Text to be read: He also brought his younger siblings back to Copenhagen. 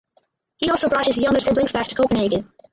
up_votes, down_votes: 0, 4